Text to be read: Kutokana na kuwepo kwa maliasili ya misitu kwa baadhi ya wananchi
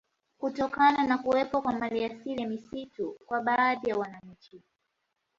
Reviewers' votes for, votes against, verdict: 2, 0, accepted